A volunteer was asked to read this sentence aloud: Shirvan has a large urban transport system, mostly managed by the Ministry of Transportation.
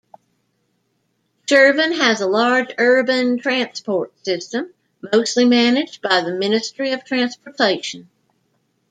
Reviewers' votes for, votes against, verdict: 2, 0, accepted